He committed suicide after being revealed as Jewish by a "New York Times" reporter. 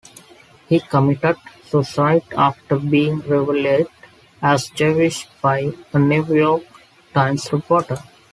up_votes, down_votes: 2, 1